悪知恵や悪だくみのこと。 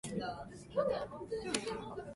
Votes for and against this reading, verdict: 0, 2, rejected